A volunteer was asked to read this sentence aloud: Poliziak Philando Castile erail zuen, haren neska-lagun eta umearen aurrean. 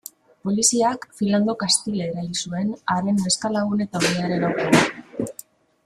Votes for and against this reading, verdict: 0, 2, rejected